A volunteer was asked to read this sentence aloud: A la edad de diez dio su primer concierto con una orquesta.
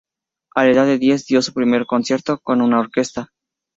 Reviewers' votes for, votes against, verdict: 4, 0, accepted